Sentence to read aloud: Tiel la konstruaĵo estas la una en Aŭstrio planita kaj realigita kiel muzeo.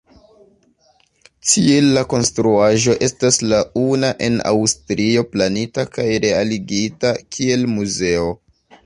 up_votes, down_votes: 0, 2